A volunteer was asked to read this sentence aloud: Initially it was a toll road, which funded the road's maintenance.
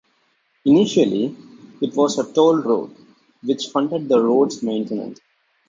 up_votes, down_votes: 2, 1